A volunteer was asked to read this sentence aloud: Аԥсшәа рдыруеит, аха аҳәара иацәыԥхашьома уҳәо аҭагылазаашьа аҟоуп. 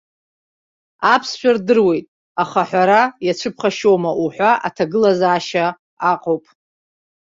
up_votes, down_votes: 1, 2